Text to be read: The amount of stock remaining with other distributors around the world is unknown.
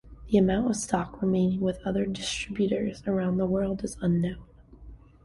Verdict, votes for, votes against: accepted, 2, 0